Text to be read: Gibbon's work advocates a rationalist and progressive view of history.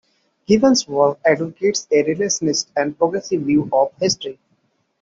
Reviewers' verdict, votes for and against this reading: rejected, 1, 2